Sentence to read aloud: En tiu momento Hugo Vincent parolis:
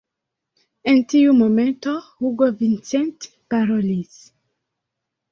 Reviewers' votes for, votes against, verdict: 1, 2, rejected